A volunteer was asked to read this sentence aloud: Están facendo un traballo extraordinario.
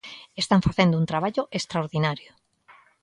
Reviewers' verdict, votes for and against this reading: accepted, 2, 0